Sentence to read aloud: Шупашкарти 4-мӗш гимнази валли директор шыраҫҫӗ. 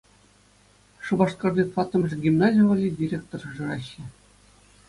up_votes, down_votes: 0, 2